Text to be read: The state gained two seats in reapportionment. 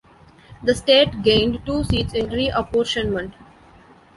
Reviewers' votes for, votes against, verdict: 2, 0, accepted